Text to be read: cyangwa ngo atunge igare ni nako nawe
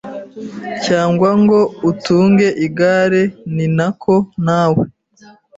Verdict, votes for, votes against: rejected, 0, 2